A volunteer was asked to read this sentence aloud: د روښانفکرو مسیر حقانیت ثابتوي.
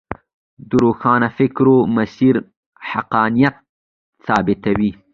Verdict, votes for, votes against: accepted, 2, 0